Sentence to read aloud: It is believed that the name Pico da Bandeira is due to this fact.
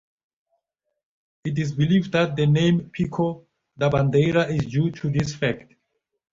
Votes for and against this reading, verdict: 2, 0, accepted